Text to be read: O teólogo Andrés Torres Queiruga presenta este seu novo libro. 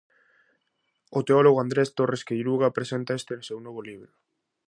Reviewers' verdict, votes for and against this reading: accepted, 2, 0